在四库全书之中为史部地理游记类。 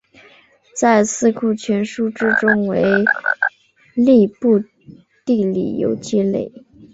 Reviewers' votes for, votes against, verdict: 1, 2, rejected